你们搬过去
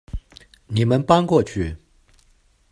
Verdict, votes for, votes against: accepted, 2, 1